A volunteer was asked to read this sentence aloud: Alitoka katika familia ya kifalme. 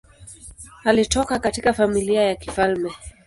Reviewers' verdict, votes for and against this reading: accepted, 2, 0